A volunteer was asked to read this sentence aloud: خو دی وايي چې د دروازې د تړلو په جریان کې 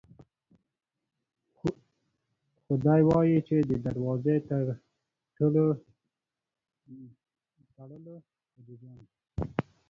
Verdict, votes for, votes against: rejected, 0, 2